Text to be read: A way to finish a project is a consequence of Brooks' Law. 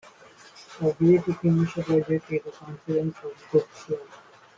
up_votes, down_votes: 1, 2